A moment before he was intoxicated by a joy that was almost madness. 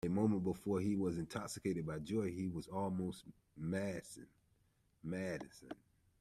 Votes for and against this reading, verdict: 0, 2, rejected